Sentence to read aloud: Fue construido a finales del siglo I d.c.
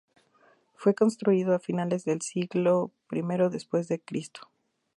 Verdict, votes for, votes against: accepted, 2, 0